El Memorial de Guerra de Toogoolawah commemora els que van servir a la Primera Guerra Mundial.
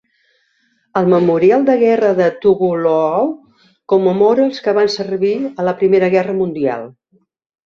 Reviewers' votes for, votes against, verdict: 1, 2, rejected